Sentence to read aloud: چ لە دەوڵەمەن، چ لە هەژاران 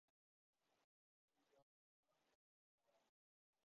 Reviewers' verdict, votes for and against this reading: rejected, 0, 2